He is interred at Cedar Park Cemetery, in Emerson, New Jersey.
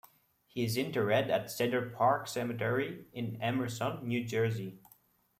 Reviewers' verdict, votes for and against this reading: accepted, 2, 1